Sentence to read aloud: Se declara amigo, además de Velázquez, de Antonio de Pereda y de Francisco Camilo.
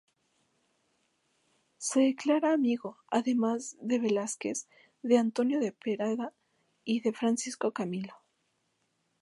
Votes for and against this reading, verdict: 2, 0, accepted